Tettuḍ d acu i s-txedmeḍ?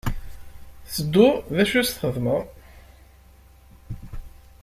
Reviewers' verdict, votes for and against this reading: rejected, 0, 2